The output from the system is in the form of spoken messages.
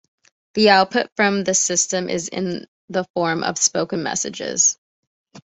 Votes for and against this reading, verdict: 2, 0, accepted